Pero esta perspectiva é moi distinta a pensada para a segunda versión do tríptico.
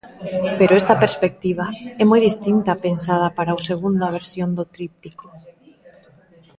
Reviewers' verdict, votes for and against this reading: accepted, 2, 1